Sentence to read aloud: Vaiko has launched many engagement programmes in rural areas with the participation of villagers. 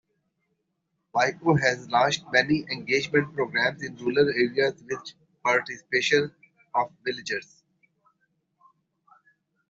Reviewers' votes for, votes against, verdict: 2, 0, accepted